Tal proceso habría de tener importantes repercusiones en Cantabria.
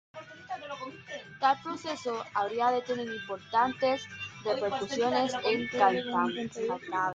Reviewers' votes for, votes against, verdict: 1, 2, rejected